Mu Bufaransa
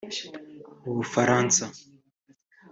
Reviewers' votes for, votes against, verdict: 3, 0, accepted